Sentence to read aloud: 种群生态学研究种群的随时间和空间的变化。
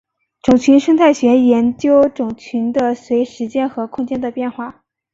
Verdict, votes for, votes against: accepted, 2, 0